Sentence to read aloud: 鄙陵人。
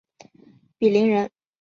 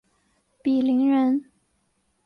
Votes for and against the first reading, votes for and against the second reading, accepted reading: 2, 0, 0, 2, first